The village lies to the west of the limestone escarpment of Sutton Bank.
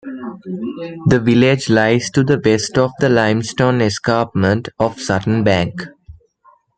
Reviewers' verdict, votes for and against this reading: rejected, 0, 2